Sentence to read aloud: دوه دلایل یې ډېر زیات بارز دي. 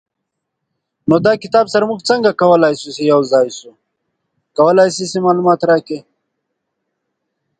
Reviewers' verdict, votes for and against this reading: rejected, 0, 2